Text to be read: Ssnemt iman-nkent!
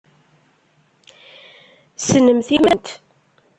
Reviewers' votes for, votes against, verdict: 0, 2, rejected